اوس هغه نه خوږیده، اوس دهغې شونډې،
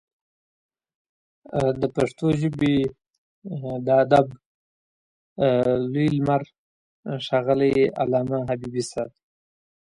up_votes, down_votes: 0, 2